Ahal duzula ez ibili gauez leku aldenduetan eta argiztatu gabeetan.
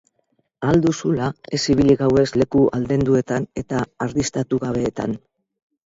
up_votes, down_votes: 2, 2